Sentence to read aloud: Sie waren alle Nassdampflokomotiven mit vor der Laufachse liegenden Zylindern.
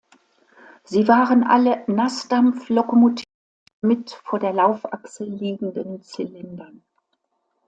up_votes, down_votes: 1, 2